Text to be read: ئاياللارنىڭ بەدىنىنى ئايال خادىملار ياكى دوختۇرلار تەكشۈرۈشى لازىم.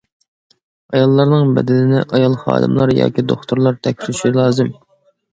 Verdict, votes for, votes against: accepted, 2, 0